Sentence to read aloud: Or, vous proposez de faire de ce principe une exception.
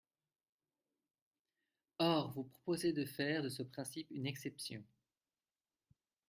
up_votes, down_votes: 1, 2